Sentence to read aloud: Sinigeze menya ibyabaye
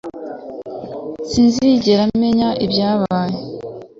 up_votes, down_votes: 2, 0